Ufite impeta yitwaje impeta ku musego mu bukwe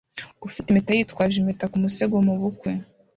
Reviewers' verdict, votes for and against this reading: accepted, 2, 0